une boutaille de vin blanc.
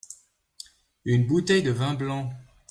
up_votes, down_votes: 0, 2